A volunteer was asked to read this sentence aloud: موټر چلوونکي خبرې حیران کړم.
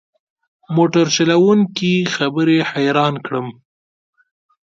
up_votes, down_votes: 2, 0